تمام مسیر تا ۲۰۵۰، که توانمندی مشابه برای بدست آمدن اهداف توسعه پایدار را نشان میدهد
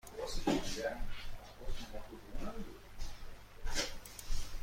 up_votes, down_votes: 0, 2